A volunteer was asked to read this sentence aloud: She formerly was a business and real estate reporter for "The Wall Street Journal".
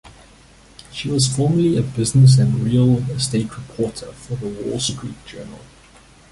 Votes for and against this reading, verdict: 2, 1, accepted